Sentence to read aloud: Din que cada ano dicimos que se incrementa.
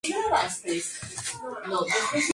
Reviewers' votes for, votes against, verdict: 0, 2, rejected